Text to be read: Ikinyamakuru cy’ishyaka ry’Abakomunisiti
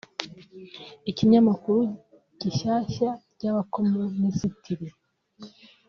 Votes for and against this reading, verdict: 1, 2, rejected